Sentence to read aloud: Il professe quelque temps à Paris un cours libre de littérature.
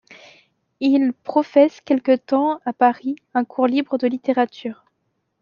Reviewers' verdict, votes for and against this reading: accepted, 2, 0